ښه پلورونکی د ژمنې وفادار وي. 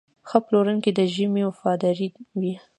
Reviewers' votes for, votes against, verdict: 2, 0, accepted